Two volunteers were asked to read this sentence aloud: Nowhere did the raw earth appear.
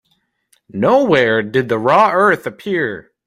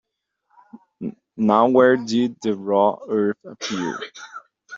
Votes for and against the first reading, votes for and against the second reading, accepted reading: 2, 0, 1, 2, first